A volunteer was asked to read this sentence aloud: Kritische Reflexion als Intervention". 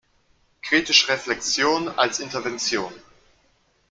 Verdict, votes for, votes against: rejected, 0, 2